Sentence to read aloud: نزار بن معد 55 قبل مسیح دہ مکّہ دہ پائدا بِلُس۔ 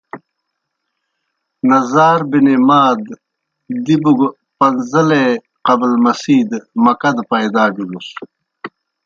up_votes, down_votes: 0, 2